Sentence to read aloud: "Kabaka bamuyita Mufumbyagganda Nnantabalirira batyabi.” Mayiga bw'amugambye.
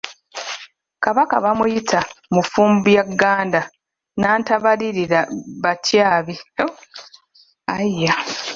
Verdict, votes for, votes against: rejected, 0, 2